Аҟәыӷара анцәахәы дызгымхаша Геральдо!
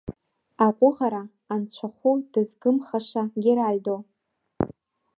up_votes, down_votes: 1, 2